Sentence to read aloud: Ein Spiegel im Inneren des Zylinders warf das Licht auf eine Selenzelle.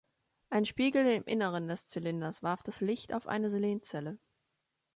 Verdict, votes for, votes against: accepted, 2, 0